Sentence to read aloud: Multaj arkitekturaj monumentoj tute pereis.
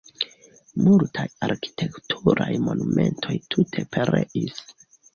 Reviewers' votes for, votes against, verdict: 1, 2, rejected